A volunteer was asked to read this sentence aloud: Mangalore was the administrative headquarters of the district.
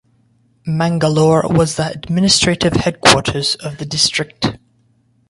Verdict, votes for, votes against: rejected, 0, 2